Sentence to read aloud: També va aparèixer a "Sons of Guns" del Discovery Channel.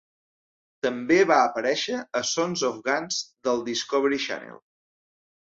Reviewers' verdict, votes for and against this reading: accepted, 3, 1